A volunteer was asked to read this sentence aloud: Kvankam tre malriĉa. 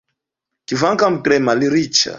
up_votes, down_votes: 1, 2